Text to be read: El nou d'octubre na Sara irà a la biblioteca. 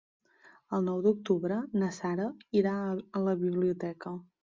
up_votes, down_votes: 1, 2